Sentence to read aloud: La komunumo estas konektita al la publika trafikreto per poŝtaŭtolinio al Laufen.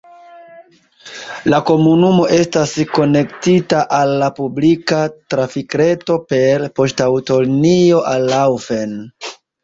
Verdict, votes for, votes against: rejected, 0, 2